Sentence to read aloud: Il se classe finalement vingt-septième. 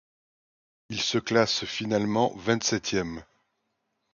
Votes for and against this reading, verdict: 2, 0, accepted